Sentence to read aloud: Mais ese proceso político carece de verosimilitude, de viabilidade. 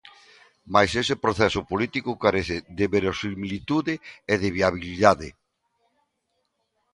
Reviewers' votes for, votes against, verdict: 0, 2, rejected